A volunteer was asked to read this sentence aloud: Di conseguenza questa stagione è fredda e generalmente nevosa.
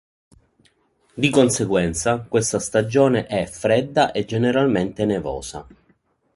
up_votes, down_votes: 5, 0